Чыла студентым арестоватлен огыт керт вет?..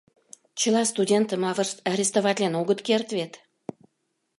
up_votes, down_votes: 0, 2